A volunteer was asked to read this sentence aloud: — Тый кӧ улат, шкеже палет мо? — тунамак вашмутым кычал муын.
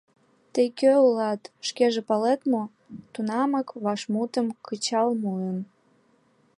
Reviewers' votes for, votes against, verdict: 2, 0, accepted